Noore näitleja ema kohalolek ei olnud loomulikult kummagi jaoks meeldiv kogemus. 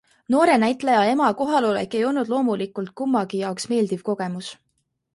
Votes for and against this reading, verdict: 4, 0, accepted